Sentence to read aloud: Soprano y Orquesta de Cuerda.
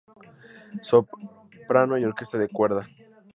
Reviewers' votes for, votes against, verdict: 0, 2, rejected